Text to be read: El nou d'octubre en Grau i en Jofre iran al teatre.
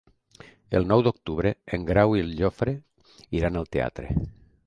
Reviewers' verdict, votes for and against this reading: accepted, 2, 0